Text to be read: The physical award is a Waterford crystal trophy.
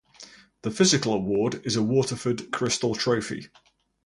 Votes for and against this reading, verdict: 2, 0, accepted